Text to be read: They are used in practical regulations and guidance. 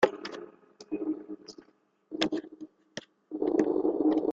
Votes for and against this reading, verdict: 0, 2, rejected